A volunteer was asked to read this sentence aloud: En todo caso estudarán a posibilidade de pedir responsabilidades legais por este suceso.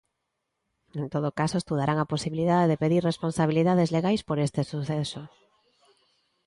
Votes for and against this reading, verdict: 2, 0, accepted